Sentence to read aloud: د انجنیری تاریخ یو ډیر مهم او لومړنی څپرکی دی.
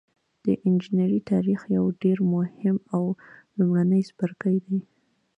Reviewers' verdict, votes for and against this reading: rejected, 1, 2